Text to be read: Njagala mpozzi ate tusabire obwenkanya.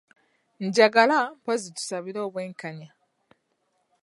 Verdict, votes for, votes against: rejected, 2, 3